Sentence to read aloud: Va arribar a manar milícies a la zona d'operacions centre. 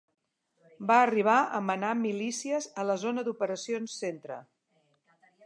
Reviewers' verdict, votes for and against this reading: accepted, 2, 0